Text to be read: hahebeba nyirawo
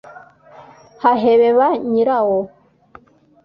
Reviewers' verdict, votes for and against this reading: accepted, 2, 0